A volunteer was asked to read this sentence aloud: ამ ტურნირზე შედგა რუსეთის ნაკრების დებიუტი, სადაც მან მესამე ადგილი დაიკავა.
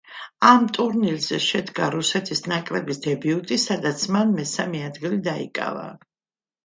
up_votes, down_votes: 2, 0